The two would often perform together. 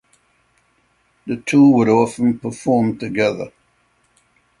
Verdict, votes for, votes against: accepted, 3, 0